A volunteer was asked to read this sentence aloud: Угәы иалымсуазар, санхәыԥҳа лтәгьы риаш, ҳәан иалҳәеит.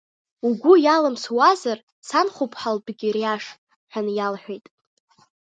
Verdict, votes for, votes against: rejected, 1, 2